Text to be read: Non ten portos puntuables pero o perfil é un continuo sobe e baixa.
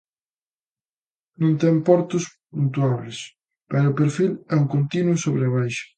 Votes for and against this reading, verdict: 2, 1, accepted